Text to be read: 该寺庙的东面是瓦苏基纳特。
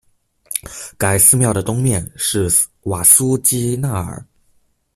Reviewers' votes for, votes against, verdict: 0, 2, rejected